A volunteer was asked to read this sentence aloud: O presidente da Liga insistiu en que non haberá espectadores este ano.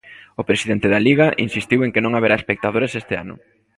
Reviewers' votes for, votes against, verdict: 1, 2, rejected